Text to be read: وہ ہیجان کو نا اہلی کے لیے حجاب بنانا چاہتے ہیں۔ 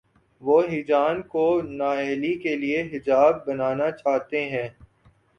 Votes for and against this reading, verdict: 2, 0, accepted